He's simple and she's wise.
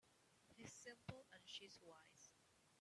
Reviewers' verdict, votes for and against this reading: rejected, 1, 2